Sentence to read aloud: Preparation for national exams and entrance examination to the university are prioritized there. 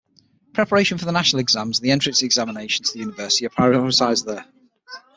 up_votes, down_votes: 0, 6